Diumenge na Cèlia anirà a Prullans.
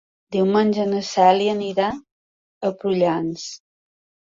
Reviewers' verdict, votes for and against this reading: accepted, 2, 0